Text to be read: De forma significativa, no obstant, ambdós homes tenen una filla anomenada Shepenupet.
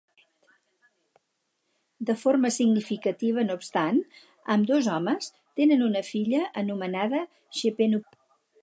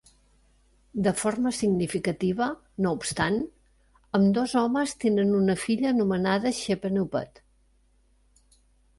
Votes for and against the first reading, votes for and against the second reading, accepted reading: 2, 4, 3, 0, second